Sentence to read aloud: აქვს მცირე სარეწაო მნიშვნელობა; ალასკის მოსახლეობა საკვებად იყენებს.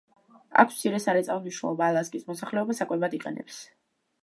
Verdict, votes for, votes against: rejected, 0, 2